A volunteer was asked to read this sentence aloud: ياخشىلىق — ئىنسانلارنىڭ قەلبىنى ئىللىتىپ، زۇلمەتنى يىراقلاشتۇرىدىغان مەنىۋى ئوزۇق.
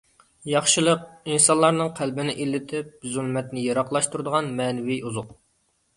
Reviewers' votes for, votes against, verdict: 2, 0, accepted